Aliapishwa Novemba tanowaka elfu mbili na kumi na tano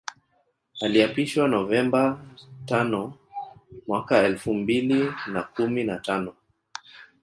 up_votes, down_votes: 2, 3